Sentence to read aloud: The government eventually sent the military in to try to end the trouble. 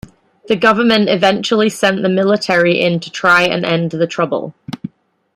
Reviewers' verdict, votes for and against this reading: rejected, 0, 2